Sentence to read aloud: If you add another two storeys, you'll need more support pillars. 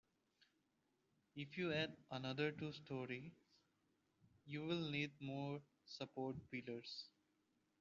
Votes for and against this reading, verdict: 0, 2, rejected